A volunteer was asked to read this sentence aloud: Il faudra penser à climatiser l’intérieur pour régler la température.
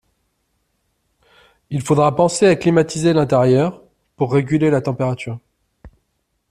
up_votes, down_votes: 0, 2